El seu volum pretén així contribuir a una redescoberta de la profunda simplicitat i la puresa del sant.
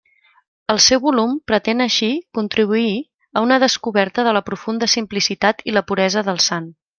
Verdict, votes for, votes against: rejected, 0, 2